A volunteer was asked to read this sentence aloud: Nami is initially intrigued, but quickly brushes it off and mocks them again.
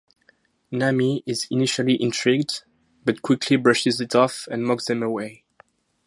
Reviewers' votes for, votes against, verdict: 0, 2, rejected